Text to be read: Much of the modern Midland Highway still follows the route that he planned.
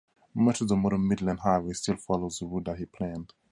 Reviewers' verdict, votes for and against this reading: accepted, 2, 0